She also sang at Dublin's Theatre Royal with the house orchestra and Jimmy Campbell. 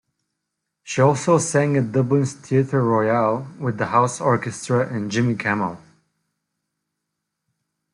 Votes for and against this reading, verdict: 2, 0, accepted